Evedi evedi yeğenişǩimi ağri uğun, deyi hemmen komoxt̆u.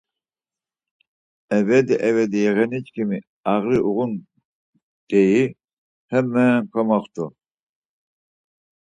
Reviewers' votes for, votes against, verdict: 4, 2, accepted